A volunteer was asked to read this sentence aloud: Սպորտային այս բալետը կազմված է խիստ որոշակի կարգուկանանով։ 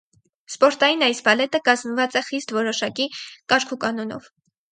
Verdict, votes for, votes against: accepted, 4, 0